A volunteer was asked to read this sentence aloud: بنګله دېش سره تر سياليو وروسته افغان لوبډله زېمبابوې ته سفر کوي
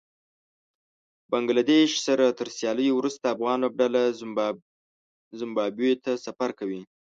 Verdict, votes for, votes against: rejected, 1, 2